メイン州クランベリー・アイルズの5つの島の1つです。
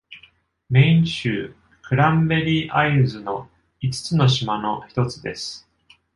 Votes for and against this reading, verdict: 0, 2, rejected